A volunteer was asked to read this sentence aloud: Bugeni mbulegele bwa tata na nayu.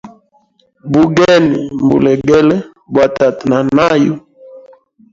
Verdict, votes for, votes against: rejected, 1, 2